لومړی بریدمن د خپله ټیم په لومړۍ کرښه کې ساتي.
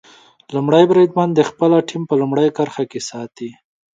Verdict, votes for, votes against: accepted, 2, 0